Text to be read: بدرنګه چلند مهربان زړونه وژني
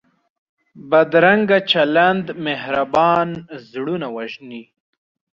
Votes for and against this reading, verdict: 2, 0, accepted